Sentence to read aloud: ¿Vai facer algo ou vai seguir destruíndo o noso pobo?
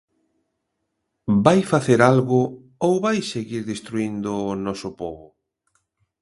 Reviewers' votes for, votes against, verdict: 2, 0, accepted